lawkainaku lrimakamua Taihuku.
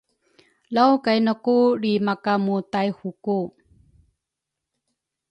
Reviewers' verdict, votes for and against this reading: rejected, 1, 2